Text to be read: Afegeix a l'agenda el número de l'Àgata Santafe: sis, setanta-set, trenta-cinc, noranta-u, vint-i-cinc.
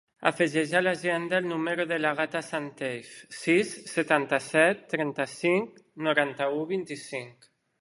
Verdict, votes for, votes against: rejected, 0, 2